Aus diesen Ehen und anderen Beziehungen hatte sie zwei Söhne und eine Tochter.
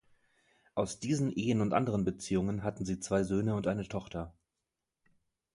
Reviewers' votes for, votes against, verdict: 1, 2, rejected